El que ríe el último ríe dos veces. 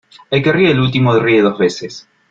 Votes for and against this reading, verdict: 2, 0, accepted